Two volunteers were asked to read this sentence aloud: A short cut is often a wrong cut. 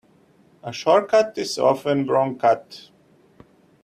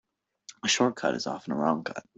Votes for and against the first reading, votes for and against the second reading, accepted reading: 1, 2, 2, 0, second